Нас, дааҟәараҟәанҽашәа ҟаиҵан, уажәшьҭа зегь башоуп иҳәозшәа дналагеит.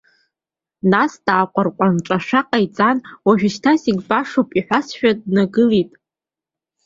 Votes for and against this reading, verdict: 2, 0, accepted